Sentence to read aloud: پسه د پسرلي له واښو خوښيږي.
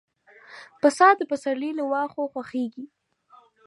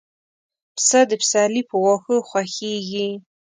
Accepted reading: first